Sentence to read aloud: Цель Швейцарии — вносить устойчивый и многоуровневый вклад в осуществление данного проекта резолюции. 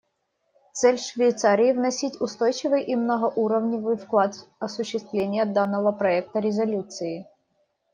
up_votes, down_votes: 2, 0